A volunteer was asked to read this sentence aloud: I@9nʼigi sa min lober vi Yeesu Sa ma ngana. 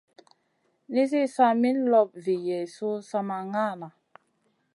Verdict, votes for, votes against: rejected, 0, 2